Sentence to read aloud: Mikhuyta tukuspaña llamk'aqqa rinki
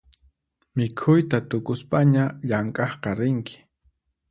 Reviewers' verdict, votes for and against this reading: accepted, 4, 0